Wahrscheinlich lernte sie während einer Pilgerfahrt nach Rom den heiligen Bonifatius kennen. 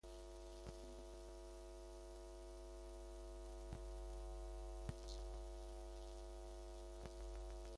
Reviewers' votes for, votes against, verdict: 0, 2, rejected